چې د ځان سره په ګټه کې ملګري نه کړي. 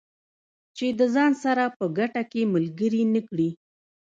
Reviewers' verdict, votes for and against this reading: rejected, 0, 2